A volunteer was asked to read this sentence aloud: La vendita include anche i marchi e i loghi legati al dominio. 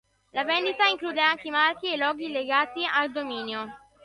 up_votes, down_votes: 2, 0